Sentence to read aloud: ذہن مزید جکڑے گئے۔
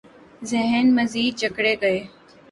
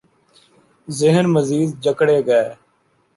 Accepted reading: first